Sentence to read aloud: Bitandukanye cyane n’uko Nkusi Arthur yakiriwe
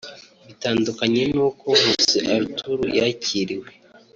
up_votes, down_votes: 1, 2